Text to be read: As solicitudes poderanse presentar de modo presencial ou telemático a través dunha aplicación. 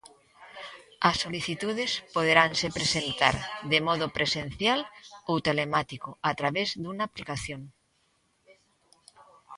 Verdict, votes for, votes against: rejected, 0, 2